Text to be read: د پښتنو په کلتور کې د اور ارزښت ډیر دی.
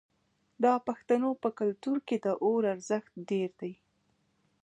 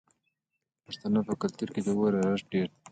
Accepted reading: second